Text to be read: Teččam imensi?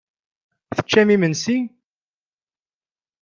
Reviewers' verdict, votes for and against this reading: accepted, 2, 0